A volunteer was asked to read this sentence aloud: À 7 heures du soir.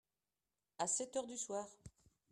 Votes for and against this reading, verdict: 0, 2, rejected